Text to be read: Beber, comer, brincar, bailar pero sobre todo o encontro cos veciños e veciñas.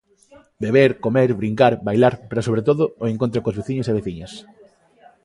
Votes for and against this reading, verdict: 2, 1, accepted